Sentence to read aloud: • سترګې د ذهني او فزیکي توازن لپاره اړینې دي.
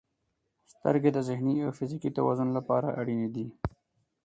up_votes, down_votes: 8, 0